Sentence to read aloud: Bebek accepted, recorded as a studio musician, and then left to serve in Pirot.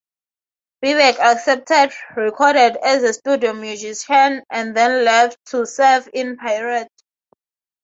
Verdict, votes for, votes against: accepted, 6, 0